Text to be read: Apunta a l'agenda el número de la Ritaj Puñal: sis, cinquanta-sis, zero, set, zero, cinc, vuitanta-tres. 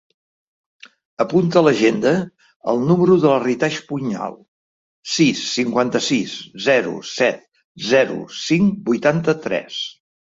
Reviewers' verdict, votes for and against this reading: accepted, 2, 0